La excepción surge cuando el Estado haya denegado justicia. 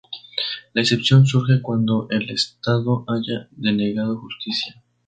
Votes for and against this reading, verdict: 2, 0, accepted